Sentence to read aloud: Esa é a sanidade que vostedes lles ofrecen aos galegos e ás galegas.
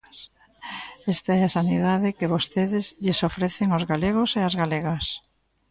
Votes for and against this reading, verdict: 0, 3, rejected